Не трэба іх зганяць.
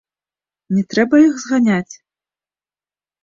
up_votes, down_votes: 1, 2